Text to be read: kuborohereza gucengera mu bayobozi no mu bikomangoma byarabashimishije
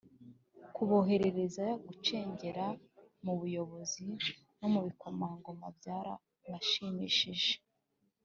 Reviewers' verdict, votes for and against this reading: accepted, 3, 0